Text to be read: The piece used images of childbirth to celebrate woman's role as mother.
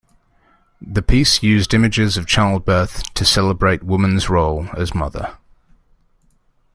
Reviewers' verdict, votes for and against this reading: accepted, 2, 0